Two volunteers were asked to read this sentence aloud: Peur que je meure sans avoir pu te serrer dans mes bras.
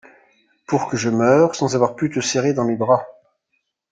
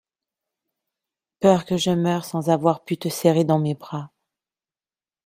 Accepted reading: second